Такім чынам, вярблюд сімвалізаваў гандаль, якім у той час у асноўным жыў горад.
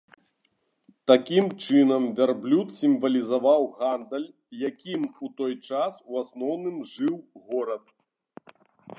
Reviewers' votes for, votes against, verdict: 2, 1, accepted